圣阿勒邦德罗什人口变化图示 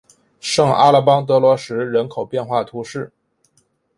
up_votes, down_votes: 2, 0